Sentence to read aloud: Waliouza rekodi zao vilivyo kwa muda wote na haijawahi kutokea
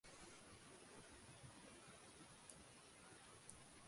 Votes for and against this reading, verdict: 1, 2, rejected